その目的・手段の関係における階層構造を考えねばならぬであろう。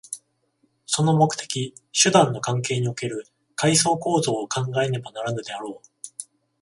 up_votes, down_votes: 14, 0